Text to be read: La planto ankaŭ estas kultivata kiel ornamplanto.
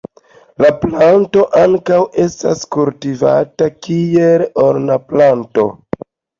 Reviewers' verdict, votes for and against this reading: accepted, 2, 0